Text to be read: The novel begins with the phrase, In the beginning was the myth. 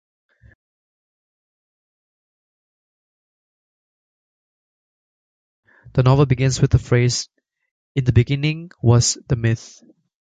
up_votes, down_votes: 0, 2